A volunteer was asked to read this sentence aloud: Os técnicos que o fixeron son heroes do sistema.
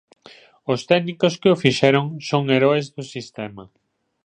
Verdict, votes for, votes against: accepted, 2, 0